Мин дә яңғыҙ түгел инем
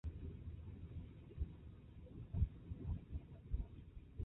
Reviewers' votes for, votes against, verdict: 0, 2, rejected